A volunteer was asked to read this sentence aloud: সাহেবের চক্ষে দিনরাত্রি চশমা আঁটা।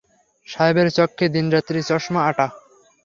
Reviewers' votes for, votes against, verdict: 3, 0, accepted